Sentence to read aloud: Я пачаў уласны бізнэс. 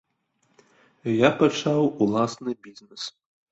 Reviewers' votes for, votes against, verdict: 2, 1, accepted